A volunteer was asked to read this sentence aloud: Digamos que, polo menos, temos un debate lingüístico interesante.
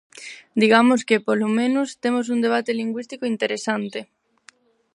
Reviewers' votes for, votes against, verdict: 4, 0, accepted